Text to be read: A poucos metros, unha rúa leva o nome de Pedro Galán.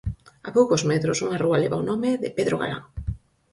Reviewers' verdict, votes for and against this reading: accepted, 4, 0